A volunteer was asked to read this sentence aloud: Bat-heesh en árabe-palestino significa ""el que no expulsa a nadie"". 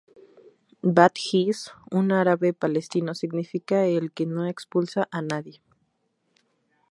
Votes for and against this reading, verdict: 0, 2, rejected